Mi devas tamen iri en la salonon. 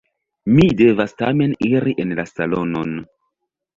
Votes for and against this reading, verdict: 2, 0, accepted